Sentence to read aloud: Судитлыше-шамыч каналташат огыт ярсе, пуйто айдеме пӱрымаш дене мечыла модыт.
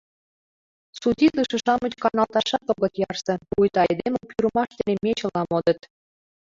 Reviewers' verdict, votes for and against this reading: rejected, 0, 2